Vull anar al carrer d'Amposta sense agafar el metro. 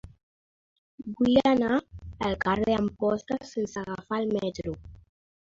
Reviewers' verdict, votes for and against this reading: accepted, 2, 1